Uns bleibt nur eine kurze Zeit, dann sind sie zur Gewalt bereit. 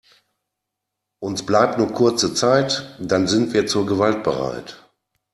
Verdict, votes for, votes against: rejected, 1, 2